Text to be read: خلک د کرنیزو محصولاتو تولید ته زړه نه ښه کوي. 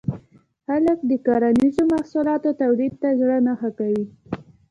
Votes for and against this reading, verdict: 2, 0, accepted